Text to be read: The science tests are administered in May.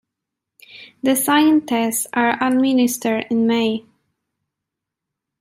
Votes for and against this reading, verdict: 0, 2, rejected